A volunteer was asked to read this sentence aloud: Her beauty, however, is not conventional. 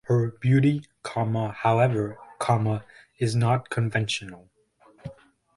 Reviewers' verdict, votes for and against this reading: rejected, 0, 2